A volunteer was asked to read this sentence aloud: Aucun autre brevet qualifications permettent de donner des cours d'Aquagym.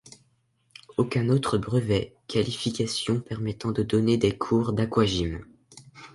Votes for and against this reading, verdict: 1, 2, rejected